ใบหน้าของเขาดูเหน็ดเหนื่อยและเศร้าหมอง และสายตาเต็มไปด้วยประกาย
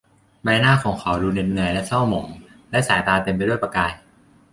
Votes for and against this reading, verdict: 2, 0, accepted